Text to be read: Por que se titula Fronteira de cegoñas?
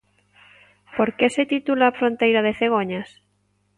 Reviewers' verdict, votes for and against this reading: accepted, 3, 0